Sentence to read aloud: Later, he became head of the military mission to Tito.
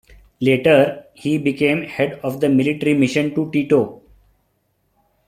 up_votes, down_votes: 1, 2